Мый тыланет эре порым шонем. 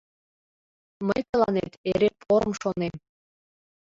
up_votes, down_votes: 1, 2